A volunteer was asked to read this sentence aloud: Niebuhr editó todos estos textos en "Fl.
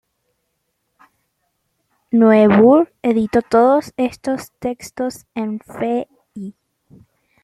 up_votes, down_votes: 0, 2